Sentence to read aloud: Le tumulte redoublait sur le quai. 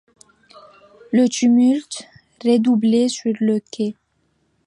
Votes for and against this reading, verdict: 2, 1, accepted